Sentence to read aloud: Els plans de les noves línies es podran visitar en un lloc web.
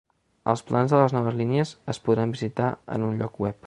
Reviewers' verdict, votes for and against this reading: accepted, 3, 0